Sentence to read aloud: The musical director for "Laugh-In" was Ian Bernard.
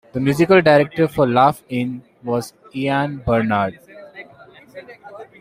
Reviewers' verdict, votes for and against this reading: accepted, 2, 0